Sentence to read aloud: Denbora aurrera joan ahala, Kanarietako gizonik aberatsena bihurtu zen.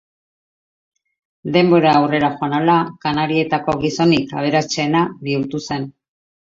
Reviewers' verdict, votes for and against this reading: accepted, 2, 0